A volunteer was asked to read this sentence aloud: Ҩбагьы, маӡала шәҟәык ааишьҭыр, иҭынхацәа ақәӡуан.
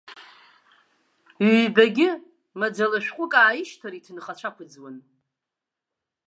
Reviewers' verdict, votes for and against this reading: accepted, 2, 0